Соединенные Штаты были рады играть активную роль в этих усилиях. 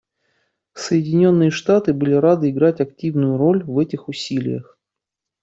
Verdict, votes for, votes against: accepted, 2, 0